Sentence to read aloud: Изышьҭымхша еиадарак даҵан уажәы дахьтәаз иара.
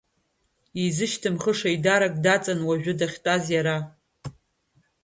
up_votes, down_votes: 0, 2